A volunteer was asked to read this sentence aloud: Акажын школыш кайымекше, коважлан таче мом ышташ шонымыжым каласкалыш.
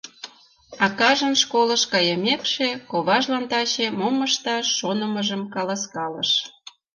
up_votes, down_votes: 2, 0